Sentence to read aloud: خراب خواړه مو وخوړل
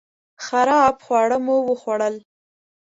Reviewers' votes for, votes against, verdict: 2, 0, accepted